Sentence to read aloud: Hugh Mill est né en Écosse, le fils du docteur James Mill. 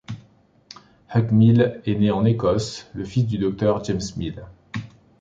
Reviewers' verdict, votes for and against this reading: rejected, 1, 2